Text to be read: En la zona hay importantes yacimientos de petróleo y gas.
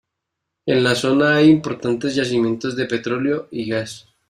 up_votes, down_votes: 2, 0